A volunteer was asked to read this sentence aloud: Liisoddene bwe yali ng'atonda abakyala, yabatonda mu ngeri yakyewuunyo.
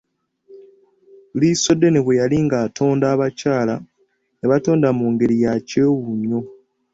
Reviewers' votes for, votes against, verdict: 2, 0, accepted